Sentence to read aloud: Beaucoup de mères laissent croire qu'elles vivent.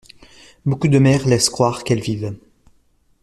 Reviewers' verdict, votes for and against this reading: accepted, 2, 0